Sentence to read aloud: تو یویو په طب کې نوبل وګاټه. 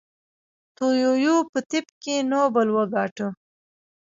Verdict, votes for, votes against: rejected, 1, 2